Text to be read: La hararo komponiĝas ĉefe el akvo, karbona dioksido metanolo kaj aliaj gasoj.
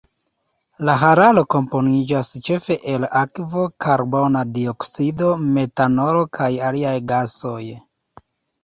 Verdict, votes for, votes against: accepted, 2, 0